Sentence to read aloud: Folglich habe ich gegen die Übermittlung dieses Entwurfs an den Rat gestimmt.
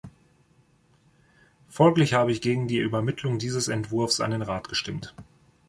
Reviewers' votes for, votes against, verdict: 2, 0, accepted